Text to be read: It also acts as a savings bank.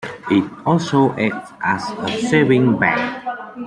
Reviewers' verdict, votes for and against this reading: accepted, 2, 1